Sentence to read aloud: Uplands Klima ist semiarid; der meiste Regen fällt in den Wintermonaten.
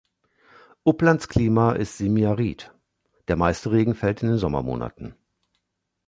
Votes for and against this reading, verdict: 0, 2, rejected